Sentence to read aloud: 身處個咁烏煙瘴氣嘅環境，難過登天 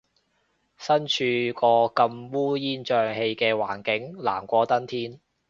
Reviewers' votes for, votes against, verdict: 2, 0, accepted